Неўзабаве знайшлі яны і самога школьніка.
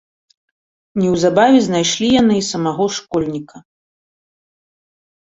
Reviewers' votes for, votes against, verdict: 1, 2, rejected